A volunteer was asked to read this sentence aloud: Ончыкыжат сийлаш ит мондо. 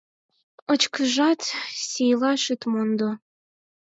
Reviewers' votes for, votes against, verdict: 2, 4, rejected